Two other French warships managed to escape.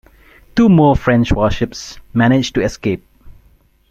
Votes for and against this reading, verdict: 0, 2, rejected